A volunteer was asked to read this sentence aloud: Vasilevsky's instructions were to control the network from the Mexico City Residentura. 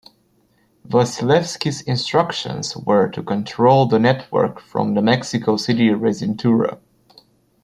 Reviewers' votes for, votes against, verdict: 0, 2, rejected